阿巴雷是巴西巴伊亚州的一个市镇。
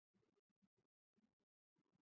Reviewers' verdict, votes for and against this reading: rejected, 0, 2